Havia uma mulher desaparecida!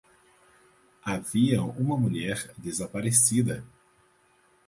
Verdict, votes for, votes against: accepted, 4, 0